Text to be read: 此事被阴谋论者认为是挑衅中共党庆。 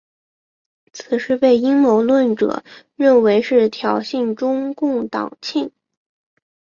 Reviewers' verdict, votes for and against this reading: accepted, 2, 0